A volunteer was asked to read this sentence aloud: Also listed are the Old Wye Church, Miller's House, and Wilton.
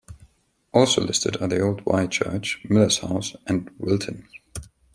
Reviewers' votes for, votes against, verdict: 2, 0, accepted